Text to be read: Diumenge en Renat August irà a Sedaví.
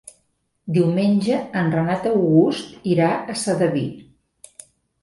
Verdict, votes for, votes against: accepted, 3, 0